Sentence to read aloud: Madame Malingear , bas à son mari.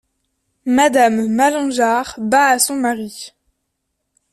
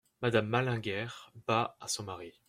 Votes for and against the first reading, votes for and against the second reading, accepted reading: 2, 0, 1, 2, first